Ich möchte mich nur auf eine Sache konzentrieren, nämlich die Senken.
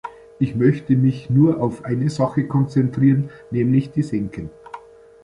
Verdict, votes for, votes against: rejected, 1, 2